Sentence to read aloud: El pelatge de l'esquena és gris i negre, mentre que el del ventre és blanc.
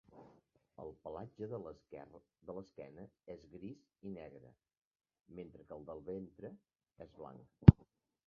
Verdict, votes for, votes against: rejected, 1, 2